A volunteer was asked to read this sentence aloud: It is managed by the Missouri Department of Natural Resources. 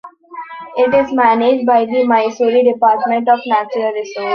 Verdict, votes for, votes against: rejected, 0, 2